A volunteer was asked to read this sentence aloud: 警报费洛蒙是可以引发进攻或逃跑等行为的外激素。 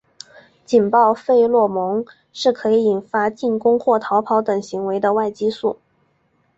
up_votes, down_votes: 10, 0